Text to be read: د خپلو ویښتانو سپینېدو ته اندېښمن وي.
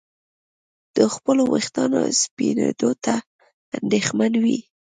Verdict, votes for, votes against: accepted, 2, 0